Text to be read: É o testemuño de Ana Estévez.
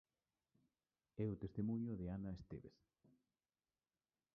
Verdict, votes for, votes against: rejected, 1, 2